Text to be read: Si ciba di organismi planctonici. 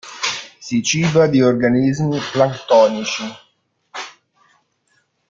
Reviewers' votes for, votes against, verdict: 2, 0, accepted